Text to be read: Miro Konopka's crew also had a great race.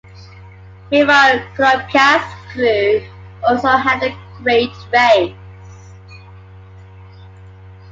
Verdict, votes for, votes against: rejected, 1, 2